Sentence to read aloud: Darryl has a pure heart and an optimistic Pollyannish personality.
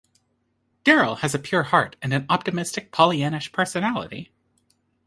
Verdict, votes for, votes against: accepted, 2, 0